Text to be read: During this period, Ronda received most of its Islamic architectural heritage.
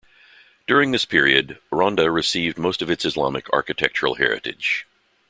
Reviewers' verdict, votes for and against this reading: accepted, 2, 0